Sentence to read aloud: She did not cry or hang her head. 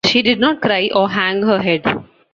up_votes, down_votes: 2, 0